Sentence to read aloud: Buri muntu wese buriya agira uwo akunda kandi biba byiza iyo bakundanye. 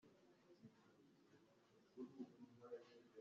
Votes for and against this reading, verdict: 0, 2, rejected